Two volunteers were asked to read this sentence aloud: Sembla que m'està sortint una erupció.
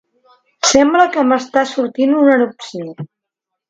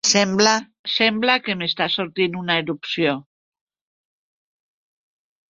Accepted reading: first